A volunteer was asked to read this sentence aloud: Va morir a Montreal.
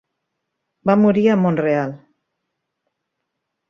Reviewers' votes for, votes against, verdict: 2, 1, accepted